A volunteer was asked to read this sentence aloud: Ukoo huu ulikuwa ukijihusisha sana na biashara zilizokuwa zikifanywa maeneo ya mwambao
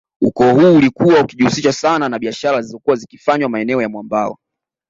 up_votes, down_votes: 2, 0